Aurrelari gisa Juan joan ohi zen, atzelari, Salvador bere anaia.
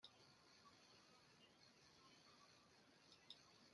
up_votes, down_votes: 0, 2